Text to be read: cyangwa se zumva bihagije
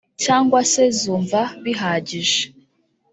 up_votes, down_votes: 1, 2